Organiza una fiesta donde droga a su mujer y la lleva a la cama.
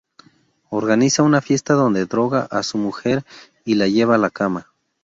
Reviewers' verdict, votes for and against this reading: accepted, 2, 0